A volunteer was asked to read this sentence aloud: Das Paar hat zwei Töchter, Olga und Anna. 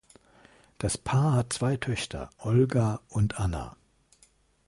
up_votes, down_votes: 2, 0